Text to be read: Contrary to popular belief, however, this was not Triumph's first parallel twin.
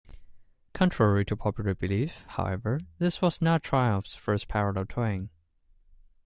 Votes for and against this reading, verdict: 0, 2, rejected